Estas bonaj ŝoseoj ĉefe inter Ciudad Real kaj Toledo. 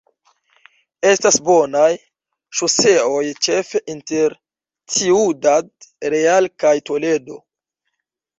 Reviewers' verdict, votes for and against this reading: accepted, 2, 1